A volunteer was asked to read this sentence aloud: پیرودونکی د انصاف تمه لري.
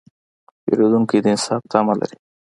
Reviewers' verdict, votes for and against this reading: accepted, 2, 0